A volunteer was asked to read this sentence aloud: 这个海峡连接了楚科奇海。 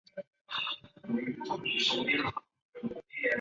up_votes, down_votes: 0, 4